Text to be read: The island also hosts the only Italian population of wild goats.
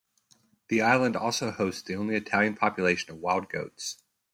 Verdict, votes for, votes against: accepted, 2, 0